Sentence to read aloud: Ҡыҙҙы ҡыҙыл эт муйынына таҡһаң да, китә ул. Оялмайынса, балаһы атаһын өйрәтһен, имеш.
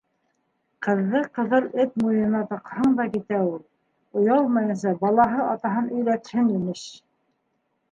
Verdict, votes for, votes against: accepted, 2, 0